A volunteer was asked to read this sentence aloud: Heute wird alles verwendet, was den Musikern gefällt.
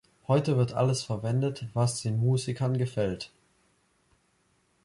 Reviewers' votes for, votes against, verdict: 2, 0, accepted